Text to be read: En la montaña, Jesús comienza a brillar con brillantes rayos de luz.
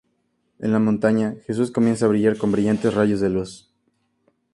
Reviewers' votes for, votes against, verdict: 2, 0, accepted